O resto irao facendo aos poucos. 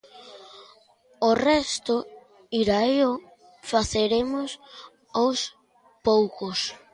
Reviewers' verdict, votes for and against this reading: rejected, 0, 2